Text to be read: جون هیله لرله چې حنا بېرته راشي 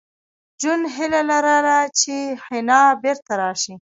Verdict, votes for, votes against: rejected, 1, 2